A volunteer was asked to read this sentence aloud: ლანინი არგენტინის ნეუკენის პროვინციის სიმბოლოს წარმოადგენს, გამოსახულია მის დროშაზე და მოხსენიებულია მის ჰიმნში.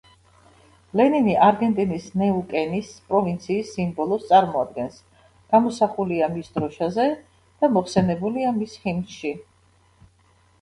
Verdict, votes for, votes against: rejected, 1, 2